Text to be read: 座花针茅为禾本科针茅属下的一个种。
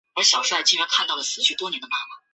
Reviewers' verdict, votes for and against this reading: rejected, 0, 6